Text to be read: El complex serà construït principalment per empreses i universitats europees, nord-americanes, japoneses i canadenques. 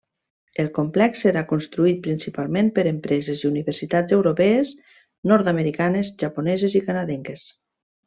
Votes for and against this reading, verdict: 3, 0, accepted